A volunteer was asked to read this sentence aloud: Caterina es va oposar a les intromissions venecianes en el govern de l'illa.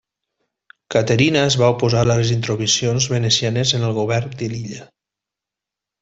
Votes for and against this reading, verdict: 2, 0, accepted